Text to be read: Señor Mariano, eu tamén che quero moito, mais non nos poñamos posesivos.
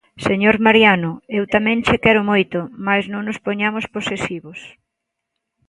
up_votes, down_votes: 2, 0